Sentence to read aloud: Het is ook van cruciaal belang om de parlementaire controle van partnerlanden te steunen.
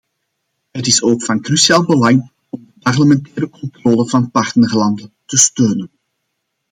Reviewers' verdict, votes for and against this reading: accepted, 2, 0